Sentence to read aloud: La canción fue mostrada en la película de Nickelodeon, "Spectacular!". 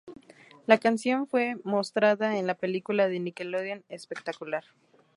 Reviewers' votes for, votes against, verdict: 4, 0, accepted